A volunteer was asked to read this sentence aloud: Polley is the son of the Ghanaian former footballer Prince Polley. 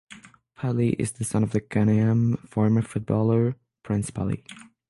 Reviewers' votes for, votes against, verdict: 0, 3, rejected